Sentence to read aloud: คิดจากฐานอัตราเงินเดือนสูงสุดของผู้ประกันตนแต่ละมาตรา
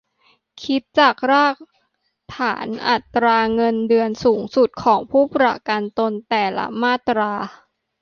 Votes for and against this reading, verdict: 0, 2, rejected